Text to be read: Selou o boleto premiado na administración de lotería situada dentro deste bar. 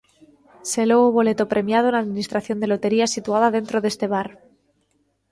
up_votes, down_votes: 3, 0